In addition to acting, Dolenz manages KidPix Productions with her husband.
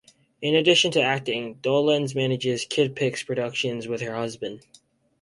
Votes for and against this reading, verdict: 4, 0, accepted